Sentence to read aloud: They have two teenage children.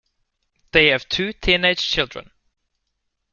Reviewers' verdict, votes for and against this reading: accepted, 2, 0